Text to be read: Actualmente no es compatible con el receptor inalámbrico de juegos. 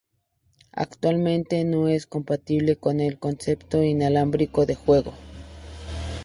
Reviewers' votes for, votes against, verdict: 2, 2, rejected